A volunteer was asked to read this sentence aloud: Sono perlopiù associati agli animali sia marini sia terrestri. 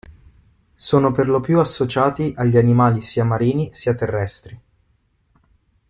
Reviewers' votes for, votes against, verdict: 2, 0, accepted